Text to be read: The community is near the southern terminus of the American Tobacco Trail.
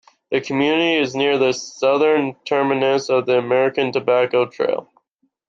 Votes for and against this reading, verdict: 2, 0, accepted